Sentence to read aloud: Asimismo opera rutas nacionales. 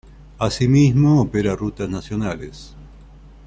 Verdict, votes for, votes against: accepted, 2, 0